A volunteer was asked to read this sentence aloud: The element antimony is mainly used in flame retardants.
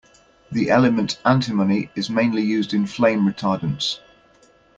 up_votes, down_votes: 2, 0